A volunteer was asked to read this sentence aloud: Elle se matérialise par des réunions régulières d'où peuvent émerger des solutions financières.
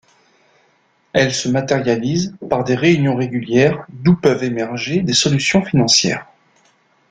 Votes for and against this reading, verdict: 2, 0, accepted